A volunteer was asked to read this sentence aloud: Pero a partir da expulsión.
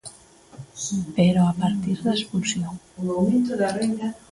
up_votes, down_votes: 0, 2